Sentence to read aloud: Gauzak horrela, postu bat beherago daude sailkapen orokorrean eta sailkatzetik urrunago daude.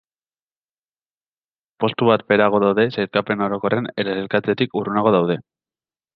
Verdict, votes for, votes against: rejected, 1, 2